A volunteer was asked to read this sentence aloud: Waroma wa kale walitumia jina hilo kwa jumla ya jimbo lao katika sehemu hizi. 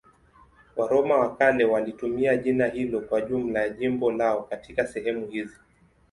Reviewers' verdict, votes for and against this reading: accepted, 2, 0